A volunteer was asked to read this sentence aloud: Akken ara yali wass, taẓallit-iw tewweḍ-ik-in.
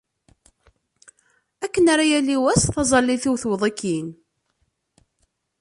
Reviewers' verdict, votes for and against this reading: accepted, 2, 0